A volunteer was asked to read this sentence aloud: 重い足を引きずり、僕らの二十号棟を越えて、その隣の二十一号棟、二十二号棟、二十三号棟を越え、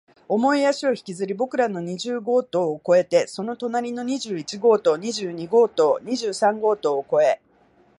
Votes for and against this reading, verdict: 3, 0, accepted